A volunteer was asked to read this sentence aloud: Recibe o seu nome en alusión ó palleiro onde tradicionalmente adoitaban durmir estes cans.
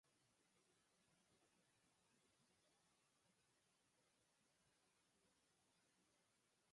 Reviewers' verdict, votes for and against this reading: rejected, 0, 4